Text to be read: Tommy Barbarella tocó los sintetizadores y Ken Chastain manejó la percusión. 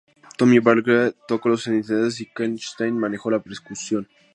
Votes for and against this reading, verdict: 0, 2, rejected